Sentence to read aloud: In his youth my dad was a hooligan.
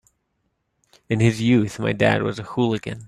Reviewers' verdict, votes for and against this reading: accepted, 4, 0